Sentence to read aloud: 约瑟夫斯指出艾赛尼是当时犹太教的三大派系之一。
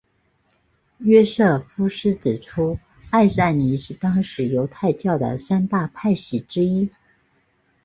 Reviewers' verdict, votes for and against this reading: accepted, 2, 0